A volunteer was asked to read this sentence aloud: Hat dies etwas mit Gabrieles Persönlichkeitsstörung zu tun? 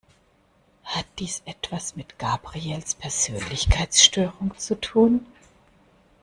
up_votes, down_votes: 1, 2